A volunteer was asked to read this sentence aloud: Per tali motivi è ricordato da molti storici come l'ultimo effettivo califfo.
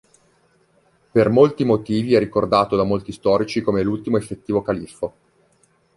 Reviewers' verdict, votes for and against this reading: rejected, 0, 2